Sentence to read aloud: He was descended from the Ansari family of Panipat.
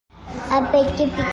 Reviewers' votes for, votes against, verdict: 0, 2, rejected